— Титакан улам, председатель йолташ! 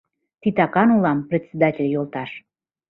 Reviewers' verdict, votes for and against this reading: accepted, 2, 0